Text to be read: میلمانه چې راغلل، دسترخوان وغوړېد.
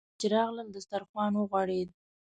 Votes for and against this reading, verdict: 1, 2, rejected